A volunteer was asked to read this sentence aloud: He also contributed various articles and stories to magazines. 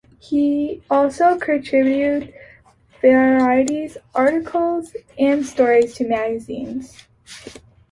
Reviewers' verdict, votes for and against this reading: rejected, 1, 2